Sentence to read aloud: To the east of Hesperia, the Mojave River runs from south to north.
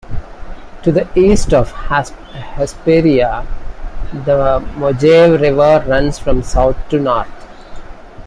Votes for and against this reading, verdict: 0, 2, rejected